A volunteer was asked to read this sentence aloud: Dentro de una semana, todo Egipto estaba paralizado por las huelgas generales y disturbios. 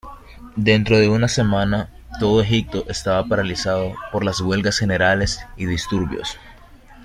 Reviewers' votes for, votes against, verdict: 1, 2, rejected